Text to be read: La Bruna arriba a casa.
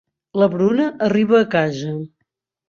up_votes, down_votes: 3, 0